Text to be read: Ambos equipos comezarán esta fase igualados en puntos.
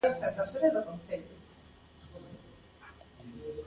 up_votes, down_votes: 0, 2